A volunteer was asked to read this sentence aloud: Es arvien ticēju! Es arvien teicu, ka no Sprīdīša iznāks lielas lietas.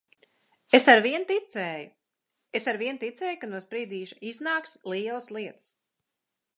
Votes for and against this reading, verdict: 0, 2, rejected